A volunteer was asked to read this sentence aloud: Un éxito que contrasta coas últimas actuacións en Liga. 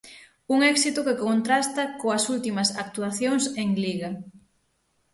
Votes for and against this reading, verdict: 6, 0, accepted